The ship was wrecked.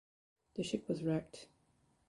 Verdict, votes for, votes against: accepted, 2, 0